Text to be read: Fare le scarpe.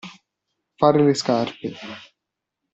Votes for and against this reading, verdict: 2, 0, accepted